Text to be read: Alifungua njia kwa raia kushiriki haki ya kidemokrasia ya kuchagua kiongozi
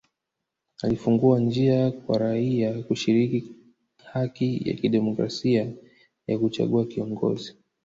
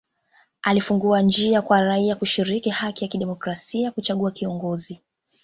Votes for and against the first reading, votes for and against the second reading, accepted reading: 1, 2, 2, 0, second